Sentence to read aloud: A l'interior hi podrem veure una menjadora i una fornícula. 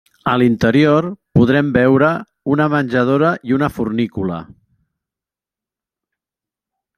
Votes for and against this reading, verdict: 0, 2, rejected